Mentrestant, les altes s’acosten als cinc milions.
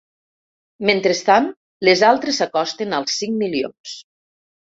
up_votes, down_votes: 1, 2